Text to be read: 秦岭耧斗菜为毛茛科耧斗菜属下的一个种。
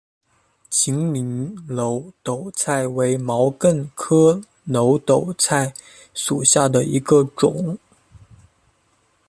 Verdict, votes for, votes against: accepted, 2, 1